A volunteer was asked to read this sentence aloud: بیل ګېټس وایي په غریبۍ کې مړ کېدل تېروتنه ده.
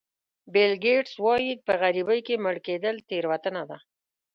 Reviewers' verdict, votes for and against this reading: accepted, 2, 0